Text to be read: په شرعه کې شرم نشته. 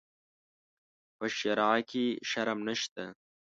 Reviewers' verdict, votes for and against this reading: accepted, 3, 0